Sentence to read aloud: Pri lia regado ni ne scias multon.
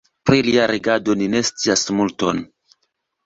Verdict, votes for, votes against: accepted, 2, 0